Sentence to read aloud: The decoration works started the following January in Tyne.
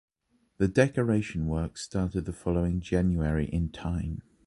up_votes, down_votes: 2, 0